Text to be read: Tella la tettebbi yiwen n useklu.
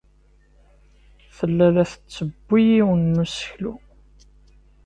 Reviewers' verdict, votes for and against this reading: rejected, 1, 2